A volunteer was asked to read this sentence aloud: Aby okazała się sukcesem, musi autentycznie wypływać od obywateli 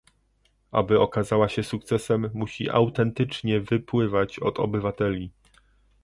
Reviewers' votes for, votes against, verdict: 1, 2, rejected